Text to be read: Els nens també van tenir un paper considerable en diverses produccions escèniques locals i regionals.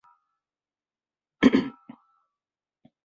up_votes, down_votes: 0, 2